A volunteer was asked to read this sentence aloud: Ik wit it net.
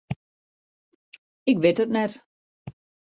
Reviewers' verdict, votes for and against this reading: accepted, 2, 0